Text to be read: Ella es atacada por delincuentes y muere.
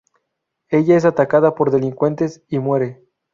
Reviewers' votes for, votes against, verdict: 2, 0, accepted